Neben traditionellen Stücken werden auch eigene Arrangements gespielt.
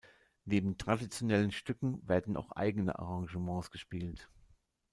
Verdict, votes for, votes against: accepted, 2, 0